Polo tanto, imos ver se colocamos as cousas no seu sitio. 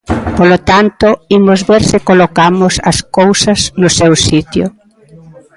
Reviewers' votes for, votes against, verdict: 2, 0, accepted